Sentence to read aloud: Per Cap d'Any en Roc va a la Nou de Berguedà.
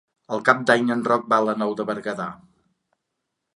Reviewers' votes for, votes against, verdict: 1, 2, rejected